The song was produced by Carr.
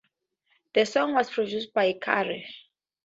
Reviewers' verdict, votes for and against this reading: accepted, 4, 0